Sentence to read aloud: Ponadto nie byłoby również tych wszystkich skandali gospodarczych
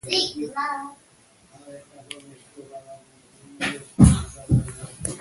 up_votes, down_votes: 0, 2